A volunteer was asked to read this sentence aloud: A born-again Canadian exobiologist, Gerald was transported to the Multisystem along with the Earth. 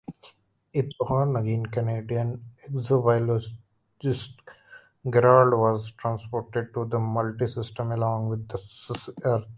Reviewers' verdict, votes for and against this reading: rejected, 0, 2